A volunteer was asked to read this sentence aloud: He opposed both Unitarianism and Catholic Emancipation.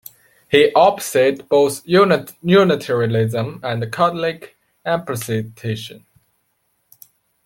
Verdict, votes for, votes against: rejected, 0, 2